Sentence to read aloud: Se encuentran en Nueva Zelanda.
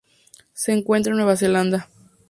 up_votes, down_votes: 0, 2